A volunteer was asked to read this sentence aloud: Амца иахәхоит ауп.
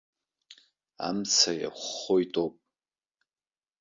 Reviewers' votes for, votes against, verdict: 2, 1, accepted